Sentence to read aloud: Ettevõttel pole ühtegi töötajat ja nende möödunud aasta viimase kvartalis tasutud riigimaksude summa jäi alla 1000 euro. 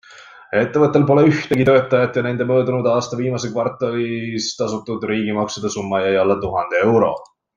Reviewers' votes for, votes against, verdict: 0, 2, rejected